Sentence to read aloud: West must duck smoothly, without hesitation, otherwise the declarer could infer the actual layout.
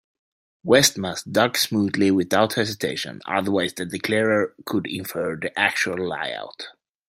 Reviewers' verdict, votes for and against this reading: accepted, 2, 1